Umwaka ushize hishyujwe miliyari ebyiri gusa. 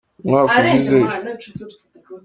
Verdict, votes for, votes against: rejected, 0, 2